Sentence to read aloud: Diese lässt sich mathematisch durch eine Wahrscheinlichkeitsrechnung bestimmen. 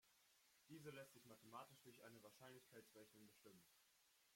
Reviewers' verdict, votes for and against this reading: rejected, 0, 2